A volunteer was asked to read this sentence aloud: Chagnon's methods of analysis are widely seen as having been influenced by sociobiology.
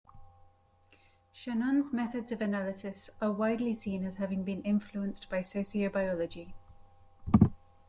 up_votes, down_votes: 2, 0